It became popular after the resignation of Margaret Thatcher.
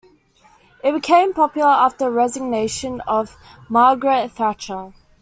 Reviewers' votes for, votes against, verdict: 0, 2, rejected